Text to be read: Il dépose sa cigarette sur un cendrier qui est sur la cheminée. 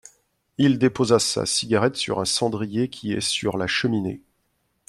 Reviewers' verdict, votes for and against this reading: rejected, 0, 2